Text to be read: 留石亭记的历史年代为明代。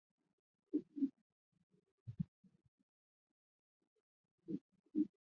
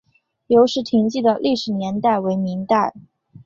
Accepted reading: second